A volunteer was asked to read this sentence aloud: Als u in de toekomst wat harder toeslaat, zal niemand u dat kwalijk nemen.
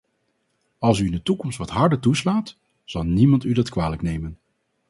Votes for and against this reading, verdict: 2, 0, accepted